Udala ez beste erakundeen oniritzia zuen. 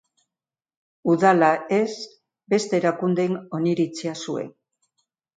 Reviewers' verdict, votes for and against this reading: accepted, 3, 0